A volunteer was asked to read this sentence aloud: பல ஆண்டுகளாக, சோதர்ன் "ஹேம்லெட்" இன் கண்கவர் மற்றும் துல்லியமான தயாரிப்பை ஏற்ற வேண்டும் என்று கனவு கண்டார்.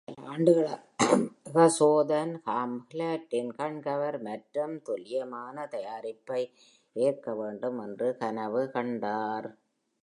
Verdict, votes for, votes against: rejected, 0, 2